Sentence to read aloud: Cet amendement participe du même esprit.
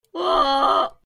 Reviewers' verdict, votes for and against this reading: rejected, 0, 2